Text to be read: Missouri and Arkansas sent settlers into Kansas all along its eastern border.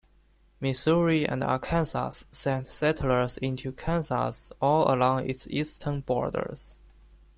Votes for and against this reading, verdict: 2, 1, accepted